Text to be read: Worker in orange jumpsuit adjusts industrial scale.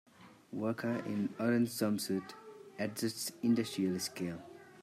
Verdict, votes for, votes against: rejected, 2, 3